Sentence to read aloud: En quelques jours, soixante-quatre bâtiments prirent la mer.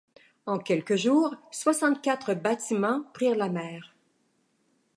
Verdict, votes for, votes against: accepted, 2, 0